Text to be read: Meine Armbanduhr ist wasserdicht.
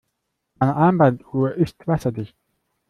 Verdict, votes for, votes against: rejected, 1, 2